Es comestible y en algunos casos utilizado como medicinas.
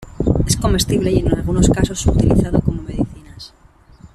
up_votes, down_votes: 2, 0